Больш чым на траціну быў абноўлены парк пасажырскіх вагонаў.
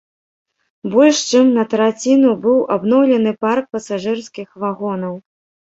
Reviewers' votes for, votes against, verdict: 2, 0, accepted